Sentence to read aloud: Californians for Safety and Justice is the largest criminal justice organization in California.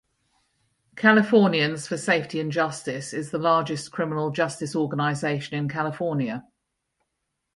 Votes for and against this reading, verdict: 2, 2, rejected